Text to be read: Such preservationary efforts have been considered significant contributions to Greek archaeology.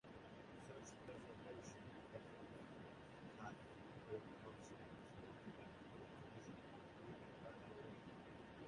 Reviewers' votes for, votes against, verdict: 0, 2, rejected